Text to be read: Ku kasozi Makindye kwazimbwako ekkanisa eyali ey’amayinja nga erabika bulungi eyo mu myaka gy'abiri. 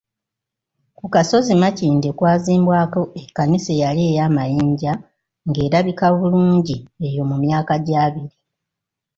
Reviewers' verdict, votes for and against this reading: accepted, 2, 0